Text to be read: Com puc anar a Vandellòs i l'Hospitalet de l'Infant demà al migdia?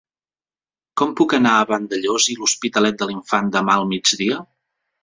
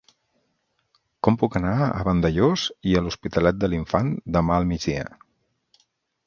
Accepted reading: first